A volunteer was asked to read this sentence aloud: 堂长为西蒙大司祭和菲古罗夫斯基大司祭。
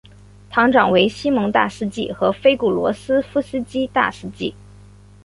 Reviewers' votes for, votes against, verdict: 3, 1, accepted